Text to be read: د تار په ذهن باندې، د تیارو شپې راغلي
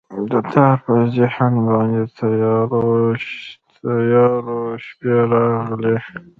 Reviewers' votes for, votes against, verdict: 0, 2, rejected